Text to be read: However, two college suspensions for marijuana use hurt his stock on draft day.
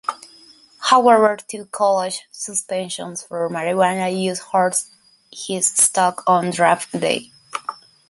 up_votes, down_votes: 2, 0